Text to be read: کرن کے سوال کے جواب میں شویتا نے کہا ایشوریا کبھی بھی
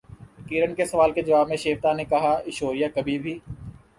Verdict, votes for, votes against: rejected, 0, 2